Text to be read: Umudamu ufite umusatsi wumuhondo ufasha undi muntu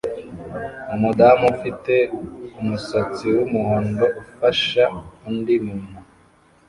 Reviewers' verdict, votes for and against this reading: rejected, 1, 2